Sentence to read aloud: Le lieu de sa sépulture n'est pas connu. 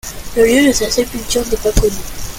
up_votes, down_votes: 2, 0